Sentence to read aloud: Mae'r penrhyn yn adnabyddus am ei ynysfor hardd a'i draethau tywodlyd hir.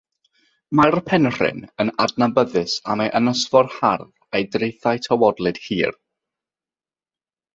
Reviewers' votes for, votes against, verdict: 6, 0, accepted